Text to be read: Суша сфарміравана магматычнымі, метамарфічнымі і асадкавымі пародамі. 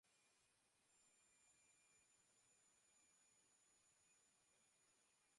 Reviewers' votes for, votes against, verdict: 0, 2, rejected